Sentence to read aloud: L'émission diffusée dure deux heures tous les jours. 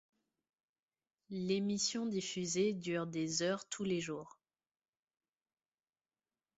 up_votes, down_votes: 1, 2